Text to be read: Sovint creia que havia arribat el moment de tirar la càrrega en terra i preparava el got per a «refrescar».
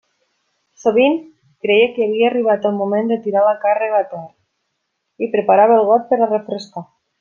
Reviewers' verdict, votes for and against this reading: rejected, 0, 2